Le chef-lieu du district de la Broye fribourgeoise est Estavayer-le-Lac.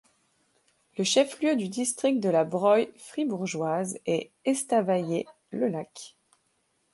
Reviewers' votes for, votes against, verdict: 2, 0, accepted